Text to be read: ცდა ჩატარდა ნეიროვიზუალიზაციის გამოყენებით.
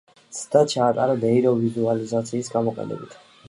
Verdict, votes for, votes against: rejected, 1, 2